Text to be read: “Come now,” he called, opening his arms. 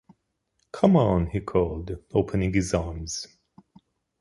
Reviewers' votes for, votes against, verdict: 0, 2, rejected